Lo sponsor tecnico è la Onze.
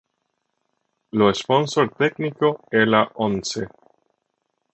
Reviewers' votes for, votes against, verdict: 3, 0, accepted